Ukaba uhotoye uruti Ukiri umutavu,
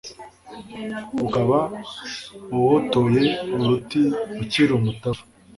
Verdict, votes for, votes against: rejected, 0, 2